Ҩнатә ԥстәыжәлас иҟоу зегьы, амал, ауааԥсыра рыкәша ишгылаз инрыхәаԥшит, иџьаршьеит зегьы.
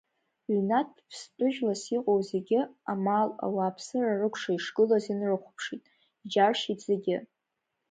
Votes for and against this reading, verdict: 1, 2, rejected